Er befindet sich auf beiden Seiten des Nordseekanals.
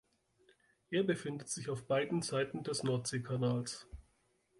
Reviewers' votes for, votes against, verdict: 2, 0, accepted